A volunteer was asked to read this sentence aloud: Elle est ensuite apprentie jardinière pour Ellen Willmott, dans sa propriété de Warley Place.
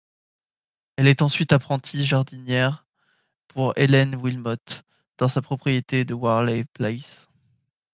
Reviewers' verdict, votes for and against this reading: accepted, 2, 0